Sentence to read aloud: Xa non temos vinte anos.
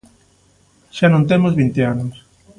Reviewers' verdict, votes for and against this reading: accepted, 2, 0